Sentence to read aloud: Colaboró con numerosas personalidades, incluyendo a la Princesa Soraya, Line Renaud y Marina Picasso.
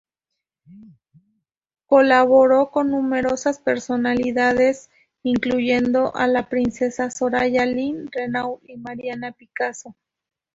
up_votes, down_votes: 2, 0